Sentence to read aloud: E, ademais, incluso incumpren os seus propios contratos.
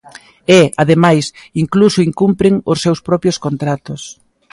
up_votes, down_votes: 2, 0